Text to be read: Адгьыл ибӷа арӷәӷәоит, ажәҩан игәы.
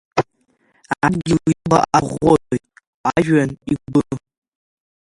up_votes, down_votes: 0, 2